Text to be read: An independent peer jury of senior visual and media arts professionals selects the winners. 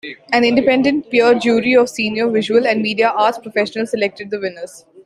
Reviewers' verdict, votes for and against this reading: rejected, 0, 2